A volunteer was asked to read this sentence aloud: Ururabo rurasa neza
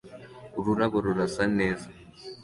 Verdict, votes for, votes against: accepted, 2, 0